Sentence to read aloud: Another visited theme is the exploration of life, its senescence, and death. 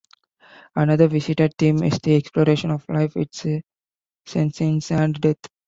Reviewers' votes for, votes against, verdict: 1, 2, rejected